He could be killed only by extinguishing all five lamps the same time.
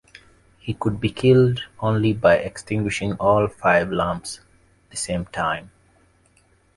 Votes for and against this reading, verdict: 2, 0, accepted